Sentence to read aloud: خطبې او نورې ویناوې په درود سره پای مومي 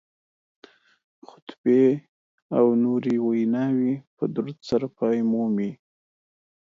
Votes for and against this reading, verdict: 2, 0, accepted